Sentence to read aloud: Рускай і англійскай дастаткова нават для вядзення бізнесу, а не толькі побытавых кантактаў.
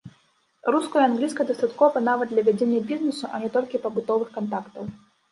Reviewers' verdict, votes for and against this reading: rejected, 1, 2